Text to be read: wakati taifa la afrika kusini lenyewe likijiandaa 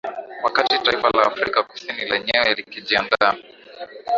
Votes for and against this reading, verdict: 4, 3, accepted